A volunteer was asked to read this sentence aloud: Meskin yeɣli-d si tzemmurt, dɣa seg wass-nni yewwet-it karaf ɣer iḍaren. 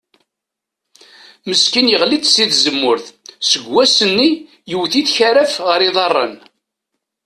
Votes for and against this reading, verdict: 0, 2, rejected